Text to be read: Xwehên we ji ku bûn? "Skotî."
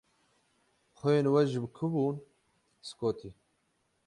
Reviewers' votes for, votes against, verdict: 6, 6, rejected